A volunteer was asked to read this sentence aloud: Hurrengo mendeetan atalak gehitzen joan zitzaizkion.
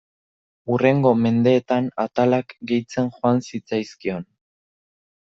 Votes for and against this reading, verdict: 2, 0, accepted